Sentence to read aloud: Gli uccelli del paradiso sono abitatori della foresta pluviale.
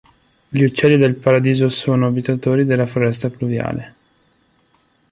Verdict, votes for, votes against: accepted, 2, 0